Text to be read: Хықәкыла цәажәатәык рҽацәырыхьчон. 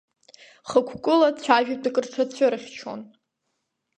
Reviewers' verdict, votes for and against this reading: rejected, 0, 2